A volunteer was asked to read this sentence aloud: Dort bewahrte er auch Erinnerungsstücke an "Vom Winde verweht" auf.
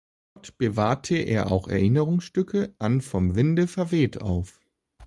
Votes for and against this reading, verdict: 0, 2, rejected